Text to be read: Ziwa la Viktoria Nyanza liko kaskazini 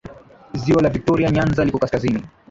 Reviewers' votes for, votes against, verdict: 3, 1, accepted